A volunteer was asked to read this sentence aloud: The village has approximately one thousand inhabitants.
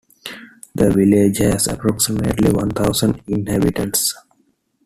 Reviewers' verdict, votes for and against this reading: accepted, 2, 1